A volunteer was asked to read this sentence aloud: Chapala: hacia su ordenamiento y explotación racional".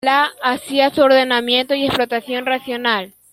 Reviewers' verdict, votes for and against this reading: rejected, 0, 2